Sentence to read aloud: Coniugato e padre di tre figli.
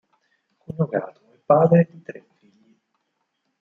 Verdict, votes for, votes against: rejected, 2, 4